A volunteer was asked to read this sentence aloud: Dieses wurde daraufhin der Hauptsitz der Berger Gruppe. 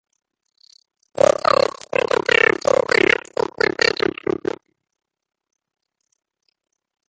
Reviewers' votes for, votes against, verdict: 0, 2, rejected